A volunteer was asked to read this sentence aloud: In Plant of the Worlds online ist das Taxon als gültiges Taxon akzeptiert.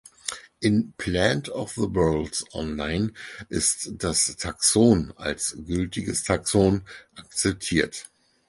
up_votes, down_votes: 4, 0